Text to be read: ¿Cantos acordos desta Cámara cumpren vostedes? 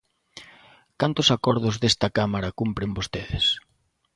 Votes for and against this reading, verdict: 2, 0, accepted